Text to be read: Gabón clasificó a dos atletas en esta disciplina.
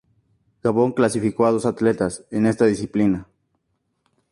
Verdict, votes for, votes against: accepted, 4, 0